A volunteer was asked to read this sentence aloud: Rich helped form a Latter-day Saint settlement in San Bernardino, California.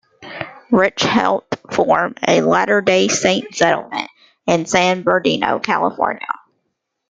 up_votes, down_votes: 2, 0